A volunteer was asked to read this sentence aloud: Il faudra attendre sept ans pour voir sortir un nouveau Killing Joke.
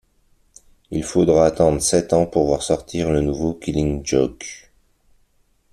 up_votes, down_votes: 1, 2